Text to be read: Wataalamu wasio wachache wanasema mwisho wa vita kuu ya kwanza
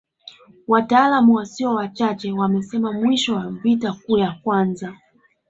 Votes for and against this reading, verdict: 0, 2, rejected